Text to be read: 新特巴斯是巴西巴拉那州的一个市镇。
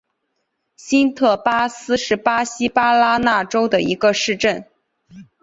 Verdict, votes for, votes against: accepted, 2, 0